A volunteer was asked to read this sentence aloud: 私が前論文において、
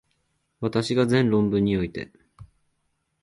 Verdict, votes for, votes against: accepted, 2, 0